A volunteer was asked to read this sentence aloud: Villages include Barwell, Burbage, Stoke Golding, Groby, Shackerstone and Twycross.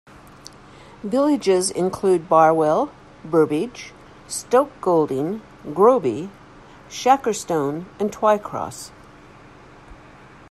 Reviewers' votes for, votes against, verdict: 2, 0, accepted